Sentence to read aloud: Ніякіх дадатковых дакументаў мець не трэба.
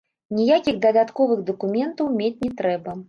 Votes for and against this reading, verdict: 1, 2, rejected